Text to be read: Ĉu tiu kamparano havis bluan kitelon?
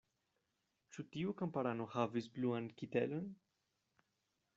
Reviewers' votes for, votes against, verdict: 2, 1, accepted